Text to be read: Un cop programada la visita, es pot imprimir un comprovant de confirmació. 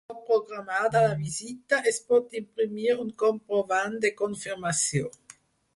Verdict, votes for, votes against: rejected, 0, 4